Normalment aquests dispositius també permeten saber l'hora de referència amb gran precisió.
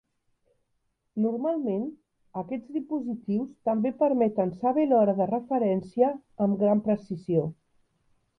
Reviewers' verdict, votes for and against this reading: accepted, 2, 0